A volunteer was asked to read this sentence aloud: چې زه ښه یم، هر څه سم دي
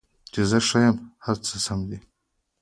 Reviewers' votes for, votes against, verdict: 2, 0, accepted